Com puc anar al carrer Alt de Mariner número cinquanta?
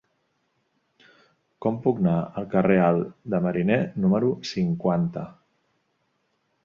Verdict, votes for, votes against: rejected, 1, 2